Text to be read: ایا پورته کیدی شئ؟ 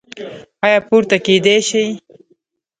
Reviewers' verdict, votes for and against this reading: rejected, 0, 2